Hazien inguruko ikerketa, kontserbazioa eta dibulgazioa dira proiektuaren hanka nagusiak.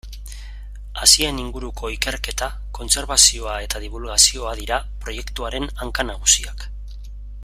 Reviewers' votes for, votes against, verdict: 2, 0, accepted